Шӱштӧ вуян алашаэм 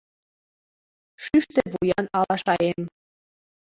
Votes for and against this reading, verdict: 2, 1, accepted